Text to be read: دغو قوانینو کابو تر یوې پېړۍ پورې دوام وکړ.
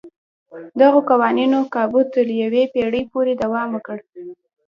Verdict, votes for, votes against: accepted, 2, 0